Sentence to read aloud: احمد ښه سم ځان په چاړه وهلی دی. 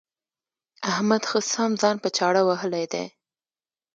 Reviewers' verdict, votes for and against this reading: accepted, 2, 0